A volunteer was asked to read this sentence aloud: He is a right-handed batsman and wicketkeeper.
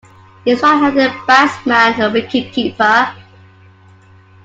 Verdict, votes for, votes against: rejected, 0, 2